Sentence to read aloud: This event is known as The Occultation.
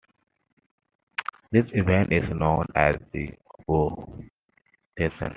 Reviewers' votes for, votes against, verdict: 0, 2, rejected